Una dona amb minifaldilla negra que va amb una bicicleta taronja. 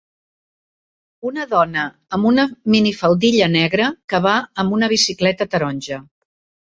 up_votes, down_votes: 1, 2